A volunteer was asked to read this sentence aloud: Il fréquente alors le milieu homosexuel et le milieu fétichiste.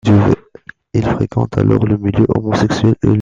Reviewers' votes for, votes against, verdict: 0, 2, rejected